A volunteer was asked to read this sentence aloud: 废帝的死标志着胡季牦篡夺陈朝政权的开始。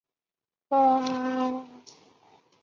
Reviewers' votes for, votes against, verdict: 1, 2, rejected